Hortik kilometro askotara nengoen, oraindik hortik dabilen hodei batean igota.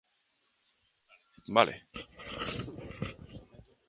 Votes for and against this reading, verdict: 0, 2, rejected